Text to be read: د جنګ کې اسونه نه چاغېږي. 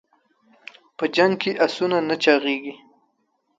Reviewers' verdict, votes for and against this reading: accepted, 2, 0